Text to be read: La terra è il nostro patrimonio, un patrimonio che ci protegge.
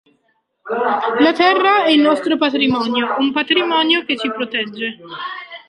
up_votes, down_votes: 1, 2